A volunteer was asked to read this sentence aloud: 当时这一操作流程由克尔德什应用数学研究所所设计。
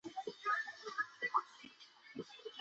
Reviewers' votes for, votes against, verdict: 1, 5, rejected